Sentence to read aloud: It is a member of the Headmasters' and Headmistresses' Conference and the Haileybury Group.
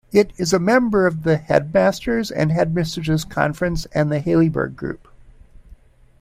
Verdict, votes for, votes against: rejected, 1, 2